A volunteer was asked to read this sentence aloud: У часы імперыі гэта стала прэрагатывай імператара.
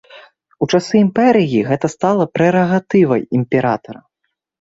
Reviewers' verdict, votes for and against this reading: rejected, 1, 2